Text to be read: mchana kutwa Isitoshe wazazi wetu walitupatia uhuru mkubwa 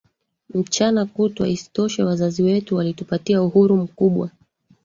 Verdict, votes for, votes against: rejected, 0, 2